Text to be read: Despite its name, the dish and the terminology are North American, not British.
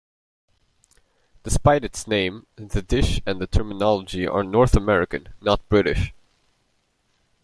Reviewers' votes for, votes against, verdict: 2, 0, accepted